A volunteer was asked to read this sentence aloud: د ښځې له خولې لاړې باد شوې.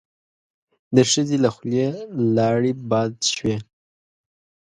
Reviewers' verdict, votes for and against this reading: accepted, 2, 0